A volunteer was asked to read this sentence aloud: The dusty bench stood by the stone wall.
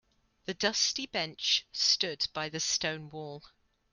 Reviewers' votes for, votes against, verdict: 2, 0, accepted